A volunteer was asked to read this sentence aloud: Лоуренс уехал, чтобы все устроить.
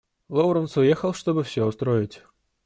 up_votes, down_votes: 2, 0